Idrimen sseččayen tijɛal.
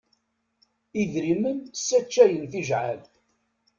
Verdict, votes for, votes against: rejected, 1, 2